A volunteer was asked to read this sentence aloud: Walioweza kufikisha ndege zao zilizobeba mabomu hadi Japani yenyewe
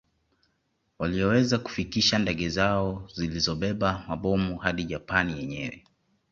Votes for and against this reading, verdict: 2, 0, accepted